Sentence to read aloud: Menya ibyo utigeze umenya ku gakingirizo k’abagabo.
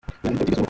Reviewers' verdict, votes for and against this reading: rejected, 0, 2